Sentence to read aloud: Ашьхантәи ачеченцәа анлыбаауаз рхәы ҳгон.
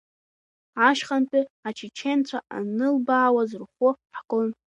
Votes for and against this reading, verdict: 2, 0, accepted